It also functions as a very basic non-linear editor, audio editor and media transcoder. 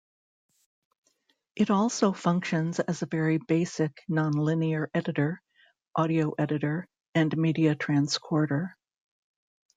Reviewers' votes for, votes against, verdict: 1, 2, rejected